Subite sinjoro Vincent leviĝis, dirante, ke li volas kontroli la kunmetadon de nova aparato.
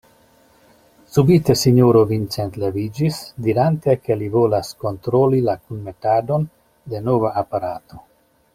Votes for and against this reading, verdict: 2, 0, accepted